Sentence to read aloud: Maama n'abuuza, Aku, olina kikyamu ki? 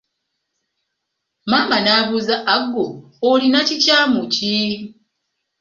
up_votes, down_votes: 0, 2